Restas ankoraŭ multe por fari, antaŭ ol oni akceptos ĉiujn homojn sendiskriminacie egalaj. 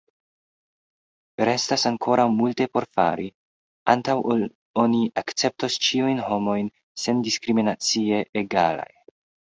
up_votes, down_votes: 2, 1